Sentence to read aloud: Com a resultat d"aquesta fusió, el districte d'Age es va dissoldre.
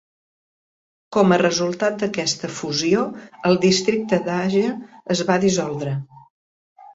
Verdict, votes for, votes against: rejected, 1, 2